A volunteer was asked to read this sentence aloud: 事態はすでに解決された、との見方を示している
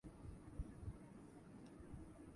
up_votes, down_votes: 0, 2